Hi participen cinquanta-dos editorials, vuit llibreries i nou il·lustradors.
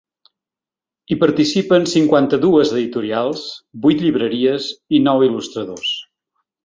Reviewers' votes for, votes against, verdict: 1, 2, rejected